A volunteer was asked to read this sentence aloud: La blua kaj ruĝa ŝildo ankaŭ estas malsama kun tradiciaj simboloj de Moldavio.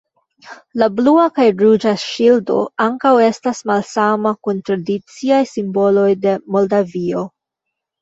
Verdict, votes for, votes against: rejected, 0, 2